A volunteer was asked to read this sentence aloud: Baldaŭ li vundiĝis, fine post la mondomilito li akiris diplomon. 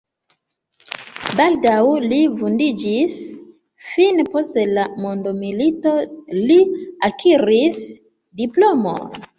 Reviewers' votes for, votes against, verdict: 4, 0, accepted